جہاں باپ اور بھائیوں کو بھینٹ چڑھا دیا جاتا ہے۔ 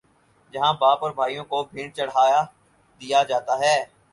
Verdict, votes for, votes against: accepted, 4, 0